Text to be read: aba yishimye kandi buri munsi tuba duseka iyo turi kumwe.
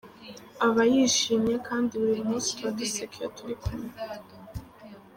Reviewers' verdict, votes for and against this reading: accepted, 2, 0